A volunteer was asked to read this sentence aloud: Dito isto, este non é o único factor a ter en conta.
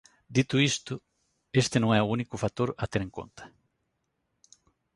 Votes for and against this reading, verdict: 2, 1, accepted